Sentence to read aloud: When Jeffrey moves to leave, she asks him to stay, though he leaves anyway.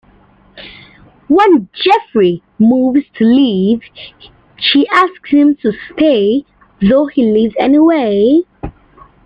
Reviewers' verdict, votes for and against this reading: accepted, 2, 0